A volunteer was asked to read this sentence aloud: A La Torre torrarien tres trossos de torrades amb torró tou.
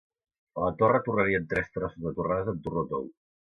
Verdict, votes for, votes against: accepted, 2, 0